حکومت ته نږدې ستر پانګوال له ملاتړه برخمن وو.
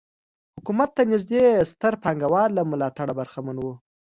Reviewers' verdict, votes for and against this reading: accepted, 2, 0